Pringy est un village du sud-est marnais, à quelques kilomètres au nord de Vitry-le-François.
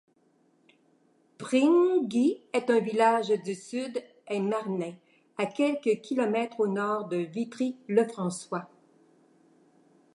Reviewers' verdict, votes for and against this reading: rejected, 0, 2